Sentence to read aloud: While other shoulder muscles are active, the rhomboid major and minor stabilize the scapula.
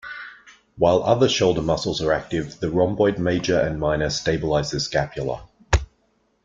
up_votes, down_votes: 2, 0